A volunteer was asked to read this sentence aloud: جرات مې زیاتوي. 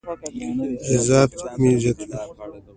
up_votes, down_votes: 2, 1